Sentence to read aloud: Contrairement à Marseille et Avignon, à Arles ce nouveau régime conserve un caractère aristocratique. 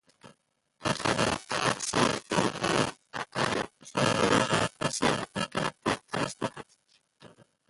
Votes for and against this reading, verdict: 0, 2, rejected